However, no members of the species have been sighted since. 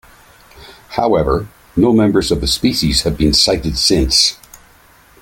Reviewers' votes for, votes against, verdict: 3, 0, accepted